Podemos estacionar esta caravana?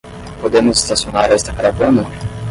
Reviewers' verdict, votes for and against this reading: accepted, 10, 0